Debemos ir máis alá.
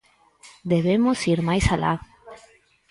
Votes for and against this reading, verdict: 2, 4, rejected